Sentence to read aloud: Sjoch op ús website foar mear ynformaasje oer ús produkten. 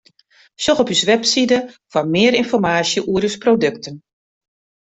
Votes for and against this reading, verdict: 0, 2, rejected